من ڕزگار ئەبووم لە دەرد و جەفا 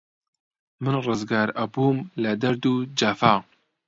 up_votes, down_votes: 2, 0